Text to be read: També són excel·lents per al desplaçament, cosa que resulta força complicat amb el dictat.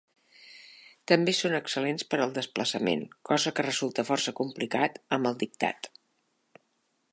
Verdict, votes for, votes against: accepted, 3, 0